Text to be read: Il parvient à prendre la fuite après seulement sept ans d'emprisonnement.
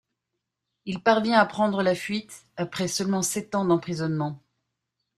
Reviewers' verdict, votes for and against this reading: accepted, 2, 0